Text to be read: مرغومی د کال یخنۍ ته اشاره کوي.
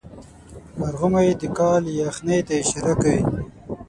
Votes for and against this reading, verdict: 6, 0, accepted